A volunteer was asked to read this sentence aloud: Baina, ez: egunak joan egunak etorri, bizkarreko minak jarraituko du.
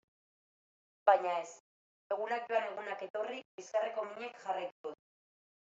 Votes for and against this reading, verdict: 0, 2, rejected